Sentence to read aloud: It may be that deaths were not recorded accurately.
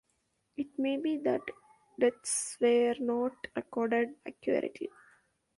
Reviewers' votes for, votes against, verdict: 1, 2, rejected